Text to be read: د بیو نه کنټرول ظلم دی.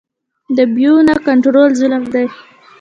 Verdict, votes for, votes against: rejected, 1, 2